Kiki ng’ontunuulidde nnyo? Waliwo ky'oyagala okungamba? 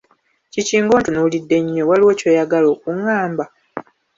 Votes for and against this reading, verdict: 3, 0, accepted